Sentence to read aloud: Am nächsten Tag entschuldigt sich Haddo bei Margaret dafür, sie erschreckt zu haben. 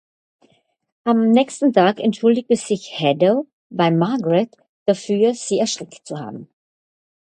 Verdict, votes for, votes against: rejected, 2, 4